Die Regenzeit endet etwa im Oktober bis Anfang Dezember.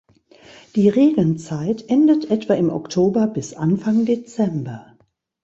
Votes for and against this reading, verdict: 2, 0, accepted